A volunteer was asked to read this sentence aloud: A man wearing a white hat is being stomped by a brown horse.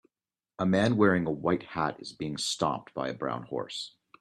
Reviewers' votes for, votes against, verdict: 2, 0, accepted